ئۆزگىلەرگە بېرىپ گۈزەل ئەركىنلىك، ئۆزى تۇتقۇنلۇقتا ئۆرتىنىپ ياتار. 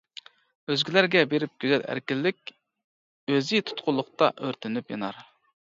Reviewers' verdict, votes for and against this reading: rejected, 1, 2